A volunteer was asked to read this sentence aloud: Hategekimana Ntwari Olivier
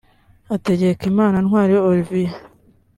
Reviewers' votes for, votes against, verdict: 2, 0, accepted